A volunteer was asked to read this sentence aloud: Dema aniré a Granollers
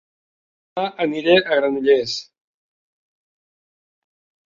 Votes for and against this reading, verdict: 0, 2, rejected